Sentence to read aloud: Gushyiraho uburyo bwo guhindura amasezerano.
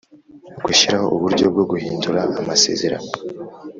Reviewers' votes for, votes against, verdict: 4, 0, accepted